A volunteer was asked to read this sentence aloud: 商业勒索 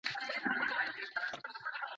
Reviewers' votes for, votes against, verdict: 0, 2, rejected